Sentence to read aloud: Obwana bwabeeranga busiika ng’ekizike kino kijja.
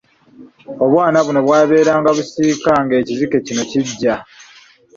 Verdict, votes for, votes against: rejected, 0, 2